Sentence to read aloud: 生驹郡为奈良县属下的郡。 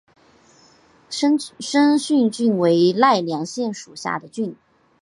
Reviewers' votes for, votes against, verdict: 0, 2, rejected